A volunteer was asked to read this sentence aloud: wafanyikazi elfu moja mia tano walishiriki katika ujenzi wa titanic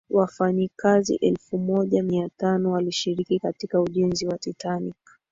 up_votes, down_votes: 4, 0